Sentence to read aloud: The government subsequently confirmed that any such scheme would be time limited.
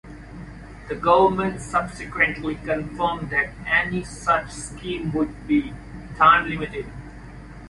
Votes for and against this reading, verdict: 2, 1, accepted